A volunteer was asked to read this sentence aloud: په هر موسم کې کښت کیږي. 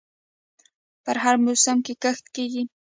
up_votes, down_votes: 1, 2